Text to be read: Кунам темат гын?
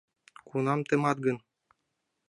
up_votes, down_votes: 2, 0